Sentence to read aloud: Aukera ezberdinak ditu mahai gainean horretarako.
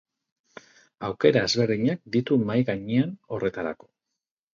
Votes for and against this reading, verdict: 4, 0, accepted